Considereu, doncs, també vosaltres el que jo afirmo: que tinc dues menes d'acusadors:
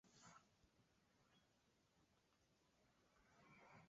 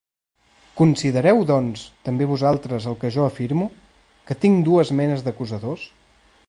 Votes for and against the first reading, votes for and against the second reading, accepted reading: 0, 2, 2, 0, second